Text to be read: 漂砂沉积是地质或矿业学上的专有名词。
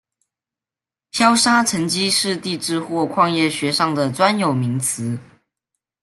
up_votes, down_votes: 2, 0